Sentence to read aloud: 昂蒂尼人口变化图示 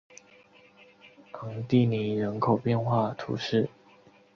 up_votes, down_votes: 2, 0